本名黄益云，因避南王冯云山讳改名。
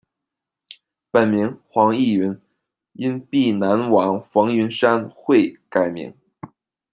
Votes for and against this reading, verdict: 2, 0, accepted